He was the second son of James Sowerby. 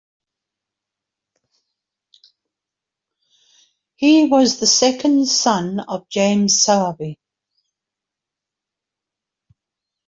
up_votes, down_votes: 2, 0